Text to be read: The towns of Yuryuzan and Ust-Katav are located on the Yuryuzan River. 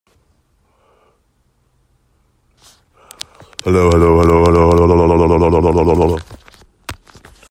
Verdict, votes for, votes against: rejected, 0, 2